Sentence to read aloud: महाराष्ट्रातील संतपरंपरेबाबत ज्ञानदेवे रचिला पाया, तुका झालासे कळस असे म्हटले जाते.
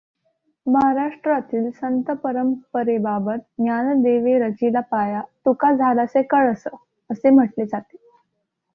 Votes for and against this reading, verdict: 2, 0, accepted